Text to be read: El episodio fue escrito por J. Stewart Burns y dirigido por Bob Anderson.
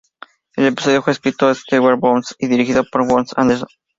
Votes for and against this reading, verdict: 0, 2, rejected